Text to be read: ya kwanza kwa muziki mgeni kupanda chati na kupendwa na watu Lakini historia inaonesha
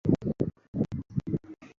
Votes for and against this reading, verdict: 0, 2, rejected